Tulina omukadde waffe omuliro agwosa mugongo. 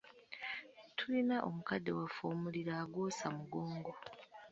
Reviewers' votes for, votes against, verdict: 2, 0, accepted